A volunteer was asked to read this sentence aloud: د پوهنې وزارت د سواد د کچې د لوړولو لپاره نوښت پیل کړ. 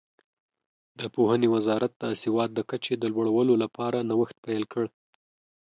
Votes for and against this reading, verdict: 2, 0, accepted